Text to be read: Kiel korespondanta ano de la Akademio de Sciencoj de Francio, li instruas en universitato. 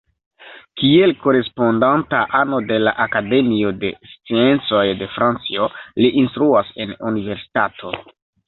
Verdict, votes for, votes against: rejected, 0, 2